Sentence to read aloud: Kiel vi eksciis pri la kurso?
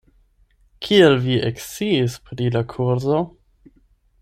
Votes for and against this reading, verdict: 8, 4, accepted